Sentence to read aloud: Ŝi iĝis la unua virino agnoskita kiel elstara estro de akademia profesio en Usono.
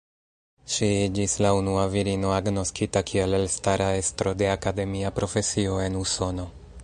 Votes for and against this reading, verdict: 1, 2, rejected